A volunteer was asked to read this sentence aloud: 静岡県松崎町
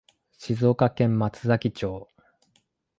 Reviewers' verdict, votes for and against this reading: accepted, 2, 0